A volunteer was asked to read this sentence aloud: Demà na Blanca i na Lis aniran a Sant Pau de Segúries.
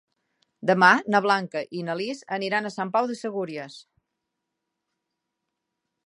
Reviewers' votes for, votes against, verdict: 3, 0, accepted